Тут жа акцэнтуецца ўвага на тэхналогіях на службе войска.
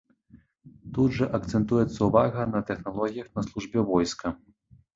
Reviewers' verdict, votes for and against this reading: accepted, 2, 0